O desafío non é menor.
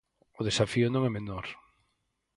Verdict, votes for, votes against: accepted, 8, 0